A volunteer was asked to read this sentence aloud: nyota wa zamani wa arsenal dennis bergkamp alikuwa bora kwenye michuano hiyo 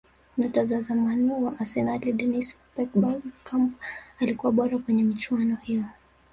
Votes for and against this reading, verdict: 1, 2, rejected